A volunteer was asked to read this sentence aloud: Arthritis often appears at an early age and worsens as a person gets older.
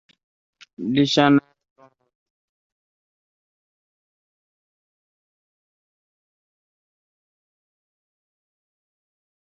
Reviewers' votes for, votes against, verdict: 0, 2, rejected